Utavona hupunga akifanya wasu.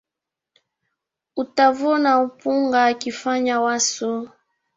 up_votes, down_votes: 1, 2